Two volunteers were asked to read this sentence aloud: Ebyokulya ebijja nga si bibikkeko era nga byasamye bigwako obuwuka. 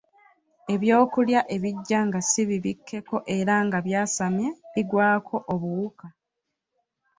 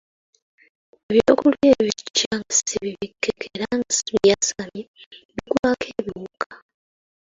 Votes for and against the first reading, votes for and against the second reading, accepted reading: 2, 1, 0, 2, first